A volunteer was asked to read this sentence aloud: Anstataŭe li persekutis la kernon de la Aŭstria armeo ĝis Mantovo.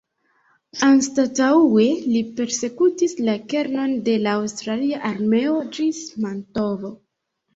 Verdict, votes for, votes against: rejected, 2, 3